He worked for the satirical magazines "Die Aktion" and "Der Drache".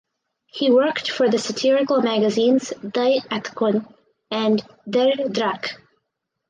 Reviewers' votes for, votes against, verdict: 0, 4, rejected